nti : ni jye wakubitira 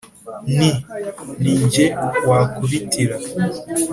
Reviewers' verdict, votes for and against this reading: accepted, 2, 0